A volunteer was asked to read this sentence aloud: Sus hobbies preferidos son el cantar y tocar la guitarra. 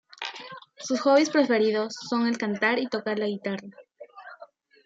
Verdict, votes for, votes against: accepted, 2, 0